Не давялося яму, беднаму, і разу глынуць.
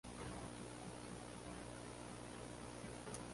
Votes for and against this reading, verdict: 0, 2, rejected